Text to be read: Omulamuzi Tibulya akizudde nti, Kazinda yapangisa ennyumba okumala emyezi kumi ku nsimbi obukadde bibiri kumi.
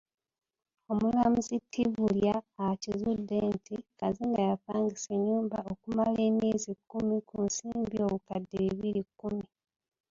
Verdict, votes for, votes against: rejected, 0, 2